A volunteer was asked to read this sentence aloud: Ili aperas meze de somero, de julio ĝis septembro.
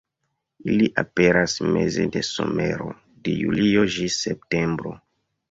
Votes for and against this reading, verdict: 2, 0, accepted